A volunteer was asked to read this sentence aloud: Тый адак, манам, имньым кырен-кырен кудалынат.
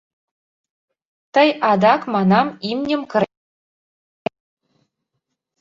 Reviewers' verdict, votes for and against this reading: rejected, 0, 2